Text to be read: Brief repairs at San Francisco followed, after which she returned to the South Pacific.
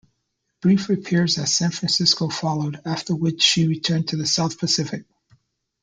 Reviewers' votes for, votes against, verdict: 2, 0, accepted